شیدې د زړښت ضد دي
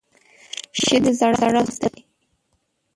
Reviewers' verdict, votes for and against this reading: rejected, 1, 2